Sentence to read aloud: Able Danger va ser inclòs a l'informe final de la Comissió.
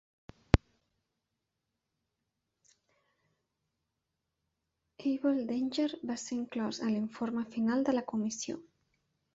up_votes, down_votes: 2, 0